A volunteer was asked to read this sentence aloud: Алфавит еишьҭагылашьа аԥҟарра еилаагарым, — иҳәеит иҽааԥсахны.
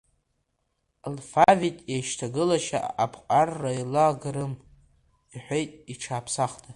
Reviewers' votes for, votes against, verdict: 1, 2, rejected